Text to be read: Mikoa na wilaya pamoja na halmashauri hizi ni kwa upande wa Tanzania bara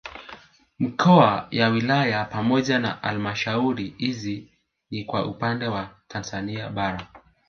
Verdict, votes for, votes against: rejected, 2, 3